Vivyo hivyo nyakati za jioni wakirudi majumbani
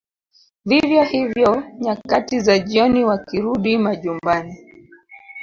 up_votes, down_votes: 2, 0